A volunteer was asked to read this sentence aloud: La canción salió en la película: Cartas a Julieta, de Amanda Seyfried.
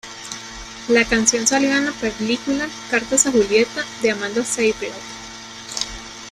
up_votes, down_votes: 2, 1